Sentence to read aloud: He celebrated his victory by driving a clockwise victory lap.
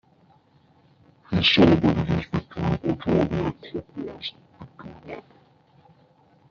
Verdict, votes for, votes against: rejected, 0, 2